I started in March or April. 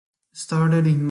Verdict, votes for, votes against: rejected, 0, 2